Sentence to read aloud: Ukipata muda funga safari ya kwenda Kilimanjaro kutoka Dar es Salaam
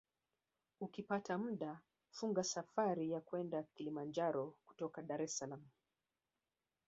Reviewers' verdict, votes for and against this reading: rejected, 1, 2